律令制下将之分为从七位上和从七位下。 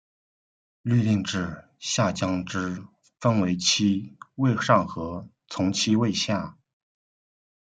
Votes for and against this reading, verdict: 0, 2, rejected